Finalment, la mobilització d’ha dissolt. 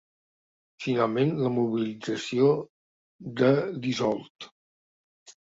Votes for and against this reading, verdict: 1, 2, rejected